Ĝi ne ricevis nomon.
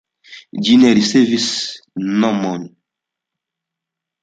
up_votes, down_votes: 2, 1